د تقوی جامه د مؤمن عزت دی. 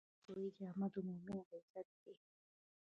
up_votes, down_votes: 0, 2